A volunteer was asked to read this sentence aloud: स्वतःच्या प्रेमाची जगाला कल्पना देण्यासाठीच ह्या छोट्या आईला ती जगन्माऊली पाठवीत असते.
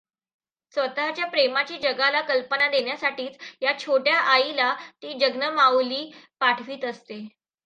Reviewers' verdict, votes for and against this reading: rejected, 1, 2